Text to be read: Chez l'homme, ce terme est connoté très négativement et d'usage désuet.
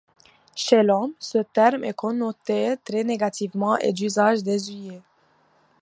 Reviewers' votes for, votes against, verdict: 2, 1, accepted